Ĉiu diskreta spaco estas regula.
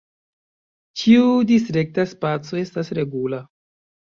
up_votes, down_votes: 0, 2